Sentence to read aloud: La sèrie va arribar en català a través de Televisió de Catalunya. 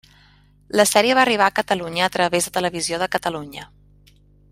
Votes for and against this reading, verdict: 0, 2, rejected